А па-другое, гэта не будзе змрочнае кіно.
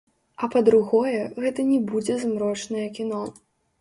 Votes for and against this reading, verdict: 2, 0, accepted